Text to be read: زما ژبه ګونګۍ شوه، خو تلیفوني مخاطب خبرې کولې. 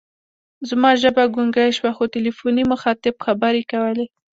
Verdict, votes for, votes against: accepted, 2, 1